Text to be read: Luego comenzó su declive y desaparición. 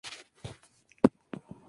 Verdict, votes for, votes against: rejected, 0, 2